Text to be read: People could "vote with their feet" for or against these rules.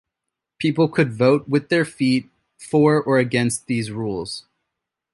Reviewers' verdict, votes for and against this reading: accepted, 2, 0